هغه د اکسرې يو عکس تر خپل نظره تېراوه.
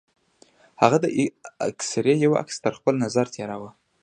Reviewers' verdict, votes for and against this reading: accepted, 2, 0